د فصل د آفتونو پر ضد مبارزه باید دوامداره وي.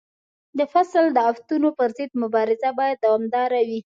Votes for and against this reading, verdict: 2, 0, accepted